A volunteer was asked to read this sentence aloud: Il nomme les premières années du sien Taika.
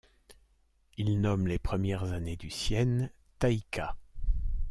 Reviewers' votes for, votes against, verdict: 1, 2, rejected